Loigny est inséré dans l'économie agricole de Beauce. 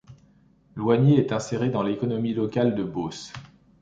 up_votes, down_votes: 2, 1